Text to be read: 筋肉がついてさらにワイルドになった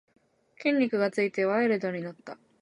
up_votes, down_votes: 1, 2